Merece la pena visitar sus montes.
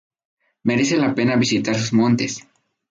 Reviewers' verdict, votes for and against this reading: rejected, 2, 2